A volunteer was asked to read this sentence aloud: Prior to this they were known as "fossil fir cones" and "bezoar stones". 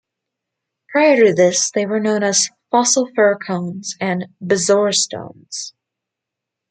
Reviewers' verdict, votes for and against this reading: accepted, 2, 0